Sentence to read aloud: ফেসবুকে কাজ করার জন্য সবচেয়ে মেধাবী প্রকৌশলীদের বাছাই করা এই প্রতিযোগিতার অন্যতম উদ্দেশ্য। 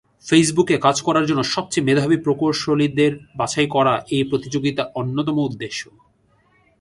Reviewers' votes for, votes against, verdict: 2, 0, accepted